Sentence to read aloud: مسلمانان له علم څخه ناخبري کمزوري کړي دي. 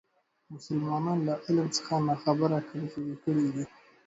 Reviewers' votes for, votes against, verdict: 2, 0, accepted